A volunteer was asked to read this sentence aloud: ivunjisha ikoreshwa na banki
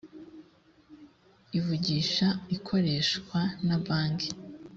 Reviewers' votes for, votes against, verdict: 0, 2, rejected